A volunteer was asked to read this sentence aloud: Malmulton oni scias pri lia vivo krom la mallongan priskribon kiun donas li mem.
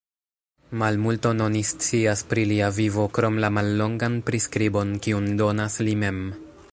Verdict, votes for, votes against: accepted, 2, 1